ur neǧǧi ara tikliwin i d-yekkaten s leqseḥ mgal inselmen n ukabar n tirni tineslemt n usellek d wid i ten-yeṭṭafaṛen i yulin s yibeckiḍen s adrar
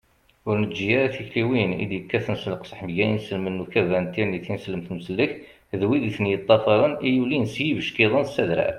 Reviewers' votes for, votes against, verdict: 2, 0, accepted